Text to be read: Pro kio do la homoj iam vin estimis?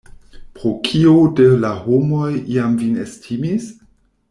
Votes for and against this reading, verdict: 0, 2, rejected